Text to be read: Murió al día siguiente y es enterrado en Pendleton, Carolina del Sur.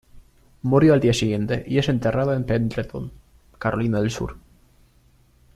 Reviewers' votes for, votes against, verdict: 2, 0, accepted